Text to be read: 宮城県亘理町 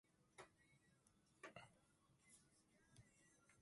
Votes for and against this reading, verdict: 0, 3, rejected